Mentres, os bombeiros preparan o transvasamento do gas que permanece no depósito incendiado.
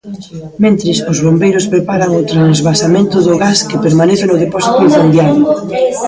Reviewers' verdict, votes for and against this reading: rejected, 1, 2